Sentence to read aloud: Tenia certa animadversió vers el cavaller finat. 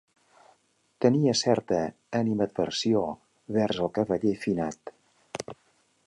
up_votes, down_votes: 2, 0